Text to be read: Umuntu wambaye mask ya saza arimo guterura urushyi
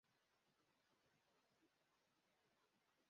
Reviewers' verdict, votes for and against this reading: rejected, 0, 2